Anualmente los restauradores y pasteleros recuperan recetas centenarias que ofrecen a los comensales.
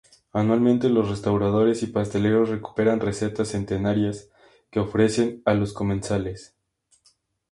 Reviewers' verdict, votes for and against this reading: accepted, 2, 0